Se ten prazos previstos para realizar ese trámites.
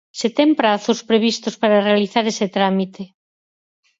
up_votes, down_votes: 2, 4